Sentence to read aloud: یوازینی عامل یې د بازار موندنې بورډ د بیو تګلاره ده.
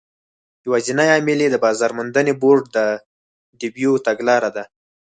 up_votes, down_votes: 4, 0